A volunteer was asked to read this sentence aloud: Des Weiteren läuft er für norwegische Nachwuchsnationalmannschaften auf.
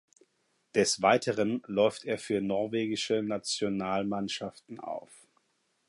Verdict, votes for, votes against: rejected, 0, 4